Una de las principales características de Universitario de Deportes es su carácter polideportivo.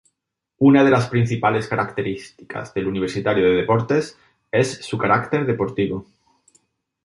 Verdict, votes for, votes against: rejected, 0, 2